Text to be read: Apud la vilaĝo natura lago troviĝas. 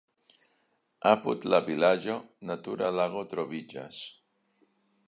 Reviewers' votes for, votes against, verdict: 2, 0, accepted